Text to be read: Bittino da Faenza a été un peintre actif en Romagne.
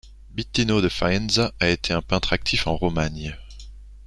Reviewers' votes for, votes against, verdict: 2, 0, accepted